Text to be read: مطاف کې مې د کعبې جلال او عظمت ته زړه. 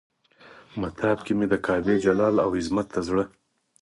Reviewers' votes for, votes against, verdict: 4, 0, accepted